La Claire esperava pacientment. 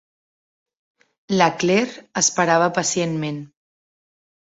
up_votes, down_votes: 3, 0